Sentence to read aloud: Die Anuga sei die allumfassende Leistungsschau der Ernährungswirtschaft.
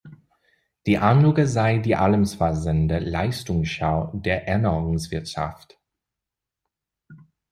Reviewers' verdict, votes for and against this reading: rejected, 1, 2